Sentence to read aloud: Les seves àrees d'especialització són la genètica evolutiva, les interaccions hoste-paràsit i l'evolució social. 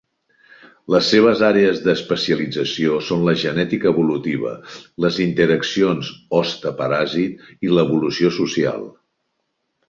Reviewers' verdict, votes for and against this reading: accepted, 4, 0